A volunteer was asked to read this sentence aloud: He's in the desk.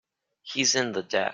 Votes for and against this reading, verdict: 0, 2, rejected